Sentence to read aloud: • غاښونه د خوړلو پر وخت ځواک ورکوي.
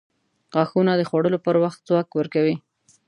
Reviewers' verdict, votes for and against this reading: accepted, 2, 0